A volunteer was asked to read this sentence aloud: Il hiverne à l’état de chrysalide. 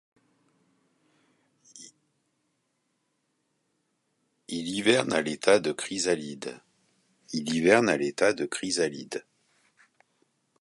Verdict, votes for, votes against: rejected, 0, 2